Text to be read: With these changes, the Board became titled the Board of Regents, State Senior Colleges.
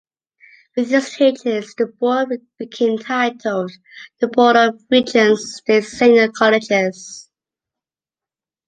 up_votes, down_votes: 0, 2